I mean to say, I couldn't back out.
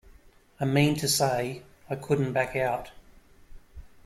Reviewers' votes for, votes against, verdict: 2, 1, accepted